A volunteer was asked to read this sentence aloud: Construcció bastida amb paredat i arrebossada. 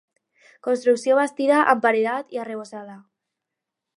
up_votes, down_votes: 4, 0